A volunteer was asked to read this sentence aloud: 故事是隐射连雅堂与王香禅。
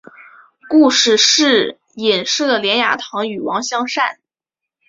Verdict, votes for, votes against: accepted, 5, 0